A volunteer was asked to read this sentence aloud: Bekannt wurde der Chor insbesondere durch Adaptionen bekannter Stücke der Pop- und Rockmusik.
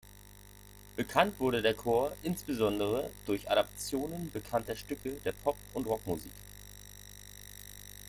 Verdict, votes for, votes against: accepted, 2, 0